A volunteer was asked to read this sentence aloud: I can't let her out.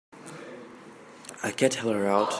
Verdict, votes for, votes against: rejected, 0, 2